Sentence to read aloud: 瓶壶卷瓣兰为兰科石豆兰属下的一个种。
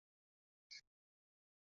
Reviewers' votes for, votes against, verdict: 0, 2, rejected